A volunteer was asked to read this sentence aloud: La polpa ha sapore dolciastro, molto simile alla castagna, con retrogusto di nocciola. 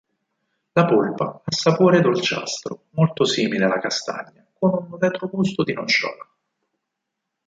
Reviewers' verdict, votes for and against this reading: accepted, 4, 2